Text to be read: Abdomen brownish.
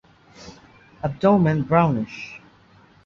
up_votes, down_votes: 2, 0